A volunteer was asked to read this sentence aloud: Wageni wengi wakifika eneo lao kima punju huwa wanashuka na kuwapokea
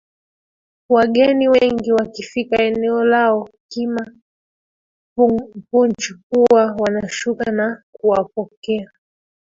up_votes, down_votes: 0, 2